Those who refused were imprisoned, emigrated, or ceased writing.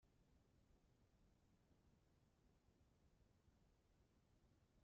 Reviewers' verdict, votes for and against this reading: rejected, 0, 2